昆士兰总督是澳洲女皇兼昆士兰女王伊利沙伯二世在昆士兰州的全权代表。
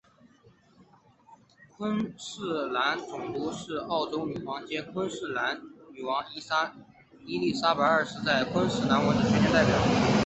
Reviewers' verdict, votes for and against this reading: rejected, 1, 4